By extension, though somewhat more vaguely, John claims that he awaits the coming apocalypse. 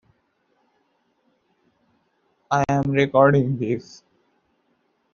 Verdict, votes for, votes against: rejected, 0, 2